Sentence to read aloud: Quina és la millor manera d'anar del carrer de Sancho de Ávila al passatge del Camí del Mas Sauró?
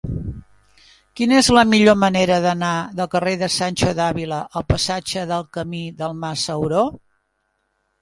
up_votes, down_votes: 2, 0